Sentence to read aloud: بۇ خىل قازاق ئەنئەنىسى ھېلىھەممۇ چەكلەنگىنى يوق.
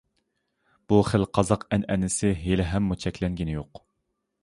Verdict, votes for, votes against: accepted, 2, 0